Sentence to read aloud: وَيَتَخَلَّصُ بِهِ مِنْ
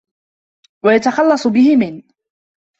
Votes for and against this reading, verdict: 2, 0, accepted